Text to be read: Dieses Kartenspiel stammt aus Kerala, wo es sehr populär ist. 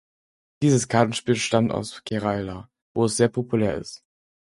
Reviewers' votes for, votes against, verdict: 2, 4, rejected